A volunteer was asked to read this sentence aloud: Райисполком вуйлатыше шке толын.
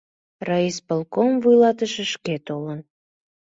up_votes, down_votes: 2, 0